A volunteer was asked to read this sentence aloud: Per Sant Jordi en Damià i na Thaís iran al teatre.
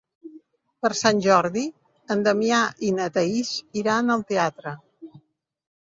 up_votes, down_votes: 3, 0